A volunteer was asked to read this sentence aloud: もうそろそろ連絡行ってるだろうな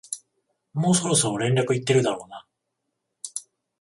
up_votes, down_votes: 7, 14